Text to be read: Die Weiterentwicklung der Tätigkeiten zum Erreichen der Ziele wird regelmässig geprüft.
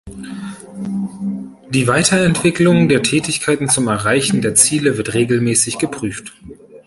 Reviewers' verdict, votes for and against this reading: accepted, 2, 0